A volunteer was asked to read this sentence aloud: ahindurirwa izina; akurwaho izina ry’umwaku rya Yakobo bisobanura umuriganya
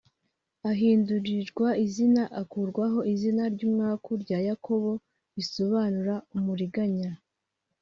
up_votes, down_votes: 0, 2